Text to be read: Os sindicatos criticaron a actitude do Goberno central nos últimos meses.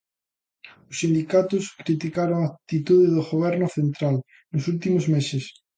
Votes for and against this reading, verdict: 2, 0, accepted